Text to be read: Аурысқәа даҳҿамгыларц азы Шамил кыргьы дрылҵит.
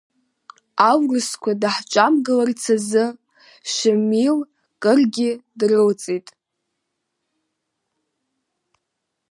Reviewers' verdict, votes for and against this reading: accepted, 2, 0